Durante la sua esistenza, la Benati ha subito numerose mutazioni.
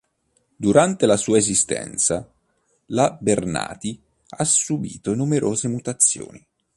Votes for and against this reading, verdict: 0, 2, rejected